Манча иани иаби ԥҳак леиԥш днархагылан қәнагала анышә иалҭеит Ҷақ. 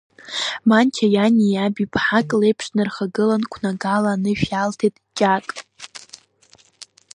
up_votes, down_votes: 1, 2